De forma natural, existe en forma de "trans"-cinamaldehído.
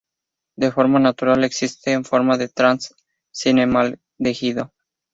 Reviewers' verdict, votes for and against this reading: rejected, 2, 2